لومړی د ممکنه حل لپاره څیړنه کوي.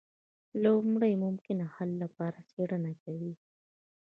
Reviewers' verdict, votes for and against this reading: accepted, 2, 0